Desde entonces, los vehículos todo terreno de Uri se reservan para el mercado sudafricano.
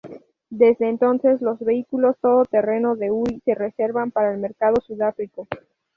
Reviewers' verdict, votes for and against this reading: rejected, 0, 2